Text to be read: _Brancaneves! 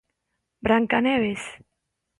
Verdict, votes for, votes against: accepted, 2, 0